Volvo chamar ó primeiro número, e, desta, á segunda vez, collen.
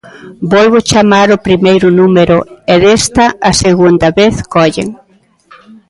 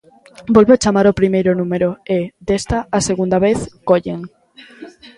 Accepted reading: second